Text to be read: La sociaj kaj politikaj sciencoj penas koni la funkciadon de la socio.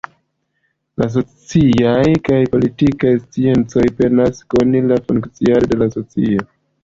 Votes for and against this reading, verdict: 1, 2, rejected